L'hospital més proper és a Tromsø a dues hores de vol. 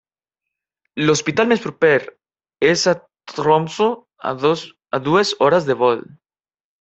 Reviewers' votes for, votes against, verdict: 0, 2, rejected